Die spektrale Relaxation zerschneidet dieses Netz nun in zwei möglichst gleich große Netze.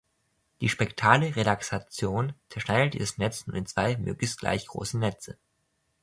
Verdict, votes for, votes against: rejected, 0, 2